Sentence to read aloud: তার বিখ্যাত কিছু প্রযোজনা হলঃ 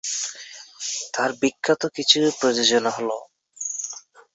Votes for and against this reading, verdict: 2, 1, accepted